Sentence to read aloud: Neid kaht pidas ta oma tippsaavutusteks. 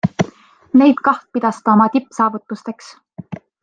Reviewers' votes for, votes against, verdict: 2, 0, accepted